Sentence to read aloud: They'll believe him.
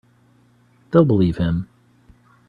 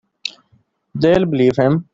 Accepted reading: first